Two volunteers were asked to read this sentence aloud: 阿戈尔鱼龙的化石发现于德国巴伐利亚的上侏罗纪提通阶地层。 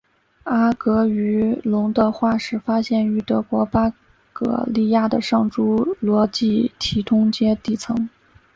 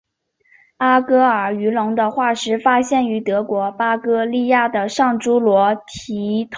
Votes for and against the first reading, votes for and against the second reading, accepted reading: 3, 4, 2, 0, second